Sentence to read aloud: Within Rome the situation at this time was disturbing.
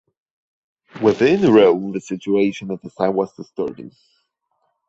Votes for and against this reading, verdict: 2, 0, accepted